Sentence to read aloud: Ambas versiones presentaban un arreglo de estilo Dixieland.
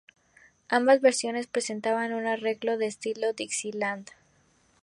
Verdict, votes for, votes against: accepted, 6, 0